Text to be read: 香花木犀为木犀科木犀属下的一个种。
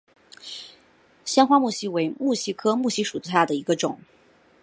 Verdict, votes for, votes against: accepted, 2, 0